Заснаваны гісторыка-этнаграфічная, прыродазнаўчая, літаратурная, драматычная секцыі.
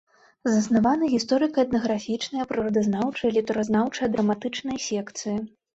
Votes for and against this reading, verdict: 1, 2, rejected